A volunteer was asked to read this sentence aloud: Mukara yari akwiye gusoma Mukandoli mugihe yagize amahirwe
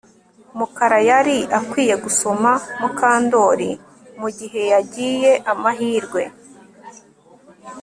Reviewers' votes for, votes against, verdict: 1, 2, rejected